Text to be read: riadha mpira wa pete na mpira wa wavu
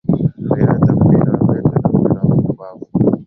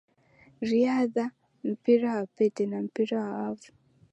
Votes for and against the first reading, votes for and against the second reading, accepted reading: 0, 2, 2, 1, second